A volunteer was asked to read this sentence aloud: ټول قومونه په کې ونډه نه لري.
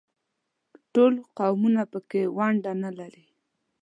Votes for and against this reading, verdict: 2, 0, accepted